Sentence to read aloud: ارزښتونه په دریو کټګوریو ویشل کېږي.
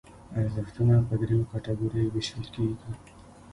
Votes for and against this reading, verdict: 0, 2, rejected